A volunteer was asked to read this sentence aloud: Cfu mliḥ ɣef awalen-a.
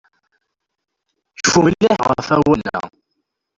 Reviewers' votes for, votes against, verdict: 1, 2, rejected